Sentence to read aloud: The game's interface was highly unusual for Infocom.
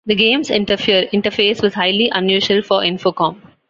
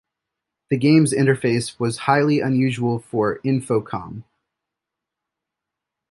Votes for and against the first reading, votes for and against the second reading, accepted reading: 1, 2, 2, 0, second